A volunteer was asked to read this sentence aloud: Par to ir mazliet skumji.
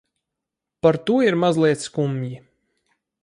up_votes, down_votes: 4, 0